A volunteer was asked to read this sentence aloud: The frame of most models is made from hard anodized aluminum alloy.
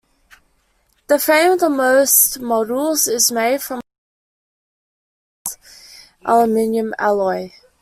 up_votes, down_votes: 0, 2